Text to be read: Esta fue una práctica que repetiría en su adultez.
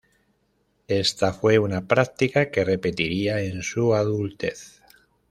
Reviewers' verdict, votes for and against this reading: accepted, 2, 0